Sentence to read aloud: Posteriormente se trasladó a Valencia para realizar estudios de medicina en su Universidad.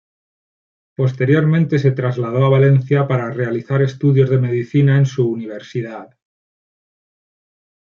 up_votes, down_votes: 2, 0